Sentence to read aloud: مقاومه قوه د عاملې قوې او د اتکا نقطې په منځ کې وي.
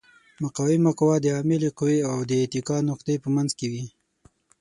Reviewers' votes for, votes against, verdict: 6, 0, accepted